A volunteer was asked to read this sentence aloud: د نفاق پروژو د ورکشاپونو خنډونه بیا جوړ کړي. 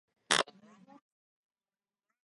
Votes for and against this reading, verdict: 0, 2, rejected